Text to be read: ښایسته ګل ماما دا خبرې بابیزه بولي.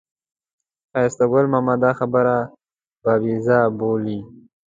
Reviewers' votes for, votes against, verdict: 3, 0, accepted